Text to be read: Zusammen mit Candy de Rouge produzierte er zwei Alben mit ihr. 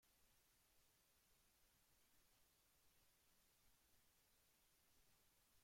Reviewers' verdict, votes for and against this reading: rejected, 0, 2